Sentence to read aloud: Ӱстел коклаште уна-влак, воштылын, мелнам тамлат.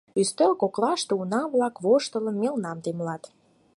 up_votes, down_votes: 0, 4